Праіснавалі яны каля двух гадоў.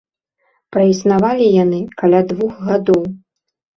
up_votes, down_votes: 2, 0